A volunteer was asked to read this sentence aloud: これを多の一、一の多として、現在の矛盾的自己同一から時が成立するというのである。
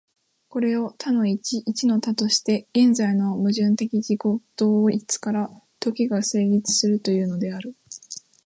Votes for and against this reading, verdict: 2, 0, accepted